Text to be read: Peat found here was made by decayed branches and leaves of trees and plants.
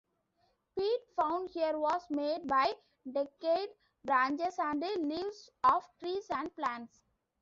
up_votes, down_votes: 2, 0